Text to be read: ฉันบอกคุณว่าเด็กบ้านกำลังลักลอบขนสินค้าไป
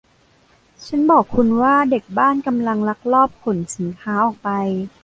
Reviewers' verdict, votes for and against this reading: rejected, 0, 2